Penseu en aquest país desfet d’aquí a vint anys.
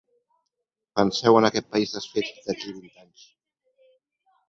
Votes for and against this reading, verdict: 1, 2, rejected